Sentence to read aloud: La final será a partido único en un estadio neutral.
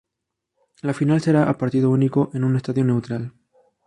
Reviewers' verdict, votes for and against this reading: accepted, 2, 0